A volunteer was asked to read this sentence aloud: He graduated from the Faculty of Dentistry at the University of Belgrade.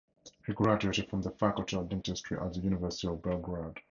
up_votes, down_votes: 2, 0